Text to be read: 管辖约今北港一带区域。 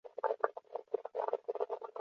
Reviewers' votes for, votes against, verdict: 1, 4, rejected